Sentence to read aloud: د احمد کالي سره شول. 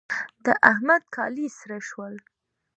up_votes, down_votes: 2, 0